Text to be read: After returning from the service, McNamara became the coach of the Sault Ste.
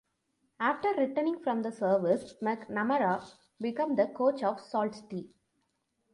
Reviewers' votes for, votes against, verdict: 1, 2, rejected